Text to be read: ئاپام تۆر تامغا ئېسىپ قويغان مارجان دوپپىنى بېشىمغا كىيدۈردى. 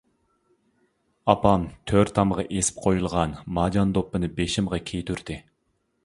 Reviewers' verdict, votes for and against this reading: rejected, 0, 2